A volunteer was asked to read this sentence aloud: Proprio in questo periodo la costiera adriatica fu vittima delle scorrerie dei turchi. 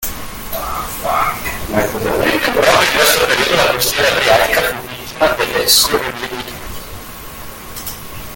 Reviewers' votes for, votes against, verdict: 0, 2, rejected